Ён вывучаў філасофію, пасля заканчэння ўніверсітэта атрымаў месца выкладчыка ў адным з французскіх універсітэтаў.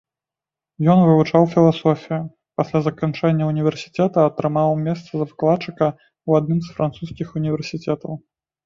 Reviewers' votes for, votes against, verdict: 1, 2, rejected